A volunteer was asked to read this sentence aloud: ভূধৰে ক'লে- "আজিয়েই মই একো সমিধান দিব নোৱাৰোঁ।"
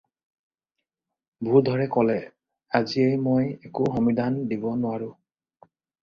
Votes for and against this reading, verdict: 4, 0, accepted